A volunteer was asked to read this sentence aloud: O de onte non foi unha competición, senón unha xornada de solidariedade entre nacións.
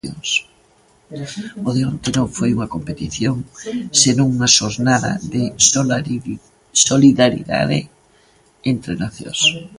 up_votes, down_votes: 0, 2